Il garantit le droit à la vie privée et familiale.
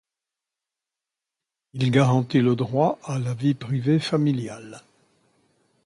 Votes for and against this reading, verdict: 0, 2, rejected